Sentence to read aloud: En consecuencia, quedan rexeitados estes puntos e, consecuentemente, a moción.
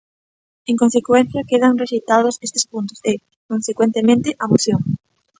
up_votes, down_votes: 2, 0